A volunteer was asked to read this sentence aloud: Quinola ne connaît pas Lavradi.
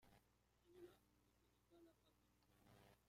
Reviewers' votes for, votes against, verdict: 0, 2, rejected